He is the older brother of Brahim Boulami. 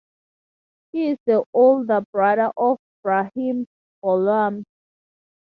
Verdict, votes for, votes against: rejected, 0, 2